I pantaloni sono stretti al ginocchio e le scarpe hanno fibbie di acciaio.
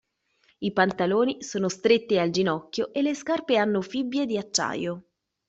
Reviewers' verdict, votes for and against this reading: accepted, 2, 0